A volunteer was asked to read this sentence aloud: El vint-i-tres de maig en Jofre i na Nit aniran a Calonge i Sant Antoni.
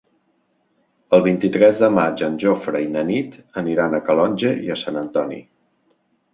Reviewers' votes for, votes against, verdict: 2, 5, rejected